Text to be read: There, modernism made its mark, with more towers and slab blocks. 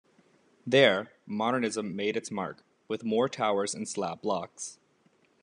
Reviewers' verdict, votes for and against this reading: accepted, 2, 0